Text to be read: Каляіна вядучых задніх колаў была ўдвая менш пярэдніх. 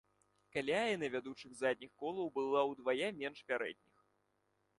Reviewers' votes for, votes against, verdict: 2, 0, accepted